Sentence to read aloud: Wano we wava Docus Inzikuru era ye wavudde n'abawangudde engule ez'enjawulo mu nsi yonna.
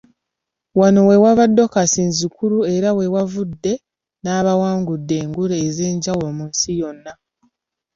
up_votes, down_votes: 2, 0